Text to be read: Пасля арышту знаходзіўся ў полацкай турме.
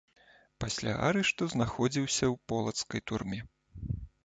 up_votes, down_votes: 2, 0